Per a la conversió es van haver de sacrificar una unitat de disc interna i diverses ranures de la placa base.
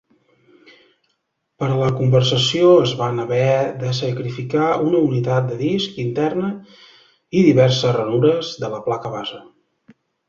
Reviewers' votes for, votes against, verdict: 0, 2, rejected